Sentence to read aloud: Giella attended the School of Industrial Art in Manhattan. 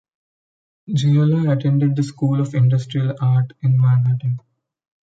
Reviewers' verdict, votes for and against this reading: rejected, 1, 2